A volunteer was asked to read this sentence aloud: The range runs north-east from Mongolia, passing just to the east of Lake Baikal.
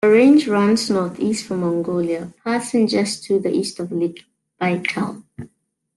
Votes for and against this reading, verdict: 2, 1, accepted